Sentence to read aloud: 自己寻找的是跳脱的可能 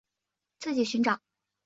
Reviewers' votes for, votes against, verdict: 0, 3, rejected